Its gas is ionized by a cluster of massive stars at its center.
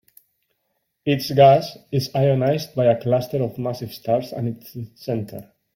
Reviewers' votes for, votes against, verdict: 0, 2, rejected